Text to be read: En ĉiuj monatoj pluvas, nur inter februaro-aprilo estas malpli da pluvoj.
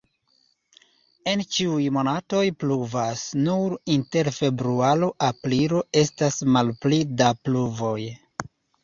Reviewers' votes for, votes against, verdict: 2, 1, accepted